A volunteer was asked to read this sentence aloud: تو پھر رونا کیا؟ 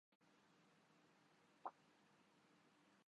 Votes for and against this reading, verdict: 0, 3, rejected